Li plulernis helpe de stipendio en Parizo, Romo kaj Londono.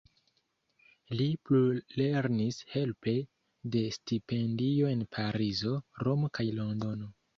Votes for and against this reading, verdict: 0, 2, rejected